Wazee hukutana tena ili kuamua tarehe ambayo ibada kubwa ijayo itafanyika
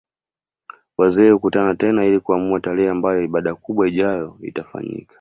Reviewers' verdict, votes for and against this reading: accepted, 2, 0